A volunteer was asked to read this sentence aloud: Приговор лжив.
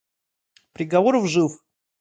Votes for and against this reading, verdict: 0, 2, rejected